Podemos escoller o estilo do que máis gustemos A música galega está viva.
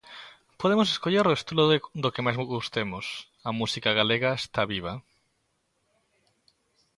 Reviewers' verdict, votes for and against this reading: rejected, 0, 2